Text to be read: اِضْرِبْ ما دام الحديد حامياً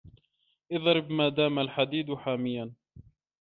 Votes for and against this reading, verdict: 2, 0, accepted